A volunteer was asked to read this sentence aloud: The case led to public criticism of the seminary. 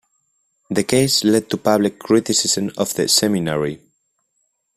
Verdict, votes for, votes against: accepted, 2, 0